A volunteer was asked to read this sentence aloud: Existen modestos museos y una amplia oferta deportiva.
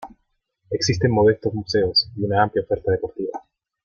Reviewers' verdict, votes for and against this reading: accepted, 2, 1